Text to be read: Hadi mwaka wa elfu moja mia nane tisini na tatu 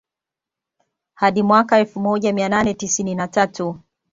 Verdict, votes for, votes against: accepted, 2, 0